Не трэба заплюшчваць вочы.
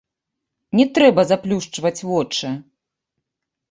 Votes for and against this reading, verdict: 1, 3, rejected